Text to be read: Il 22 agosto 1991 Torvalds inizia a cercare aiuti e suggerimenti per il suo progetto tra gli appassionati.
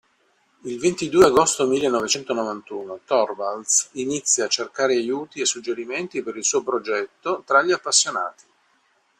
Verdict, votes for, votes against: rejected, 0, 2